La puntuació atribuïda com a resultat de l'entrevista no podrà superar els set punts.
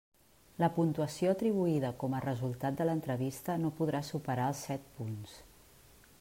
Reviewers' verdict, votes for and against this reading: accepted, 3, 0